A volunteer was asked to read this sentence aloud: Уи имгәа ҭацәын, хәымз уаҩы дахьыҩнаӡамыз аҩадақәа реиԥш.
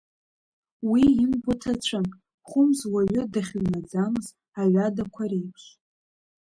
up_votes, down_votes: 2, 1